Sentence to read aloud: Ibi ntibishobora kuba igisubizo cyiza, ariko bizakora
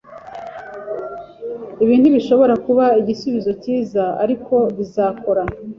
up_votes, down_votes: 3, 0